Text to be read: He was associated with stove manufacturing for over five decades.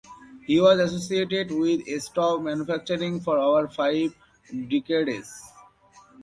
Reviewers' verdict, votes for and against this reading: rejected, 1, 2